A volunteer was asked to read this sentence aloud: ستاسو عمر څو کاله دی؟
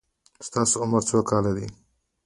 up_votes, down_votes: 2, 1